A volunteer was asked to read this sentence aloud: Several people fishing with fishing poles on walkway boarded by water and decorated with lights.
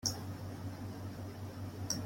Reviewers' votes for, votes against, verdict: 0, 2, rejected